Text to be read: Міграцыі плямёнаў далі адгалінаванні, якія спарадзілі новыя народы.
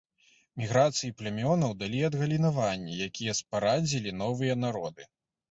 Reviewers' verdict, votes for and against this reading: rejected, 1, 2